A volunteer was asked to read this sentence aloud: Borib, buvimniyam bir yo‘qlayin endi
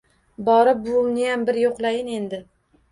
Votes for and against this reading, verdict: 1, 2, rejected